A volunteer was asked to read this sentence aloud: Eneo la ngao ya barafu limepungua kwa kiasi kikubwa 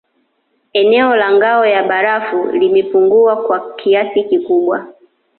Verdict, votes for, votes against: accepted, 2, 0